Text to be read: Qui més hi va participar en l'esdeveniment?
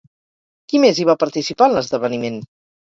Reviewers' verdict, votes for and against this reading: rejected, 2, 2